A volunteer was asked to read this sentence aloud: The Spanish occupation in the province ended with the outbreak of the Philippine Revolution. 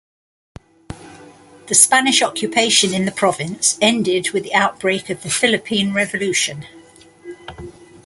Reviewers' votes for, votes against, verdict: 2, 0, accepted